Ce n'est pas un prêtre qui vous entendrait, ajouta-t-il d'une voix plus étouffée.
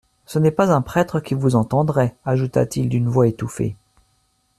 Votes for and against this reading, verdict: 0, 2, rejected